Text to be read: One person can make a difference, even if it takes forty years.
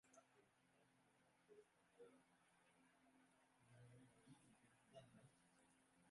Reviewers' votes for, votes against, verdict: 0, 2, rejected